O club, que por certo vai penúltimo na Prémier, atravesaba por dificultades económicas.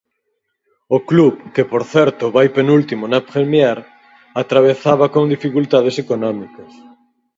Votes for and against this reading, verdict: 2, 4, rejected